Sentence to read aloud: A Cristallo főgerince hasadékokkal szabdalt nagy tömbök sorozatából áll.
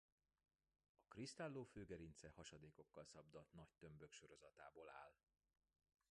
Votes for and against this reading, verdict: 1, 2, rejected